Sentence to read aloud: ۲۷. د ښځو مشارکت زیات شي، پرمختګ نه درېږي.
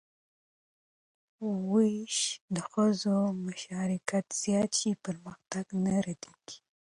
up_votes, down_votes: 0, 2